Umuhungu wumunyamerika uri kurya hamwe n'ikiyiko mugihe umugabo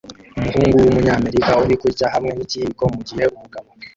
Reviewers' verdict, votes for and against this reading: rejected, 1, 2